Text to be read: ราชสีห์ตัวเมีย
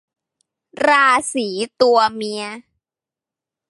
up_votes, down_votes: 0, 2